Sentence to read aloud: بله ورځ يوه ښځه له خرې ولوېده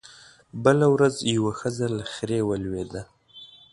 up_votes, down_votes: 2, 0